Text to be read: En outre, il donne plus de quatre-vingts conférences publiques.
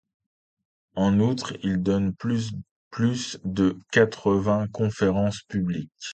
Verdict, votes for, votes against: rejected, 0, 2